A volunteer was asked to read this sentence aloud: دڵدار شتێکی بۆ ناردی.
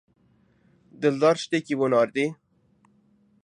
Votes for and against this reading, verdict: 1, 2, rejected